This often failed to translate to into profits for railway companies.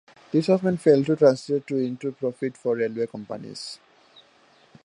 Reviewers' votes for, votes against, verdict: 1, 2, rejected